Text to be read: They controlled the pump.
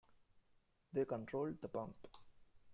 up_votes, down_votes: 2, 1